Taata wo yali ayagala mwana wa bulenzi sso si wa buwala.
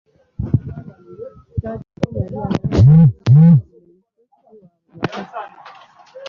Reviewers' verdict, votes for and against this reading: rejected, 0, 2